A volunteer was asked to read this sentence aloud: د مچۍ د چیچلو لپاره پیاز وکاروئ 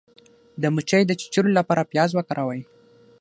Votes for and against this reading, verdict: 3, 6, rejected